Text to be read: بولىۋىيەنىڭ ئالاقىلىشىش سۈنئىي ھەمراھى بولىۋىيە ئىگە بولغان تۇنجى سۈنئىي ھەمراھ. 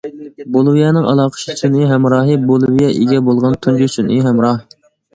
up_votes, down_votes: 1, 2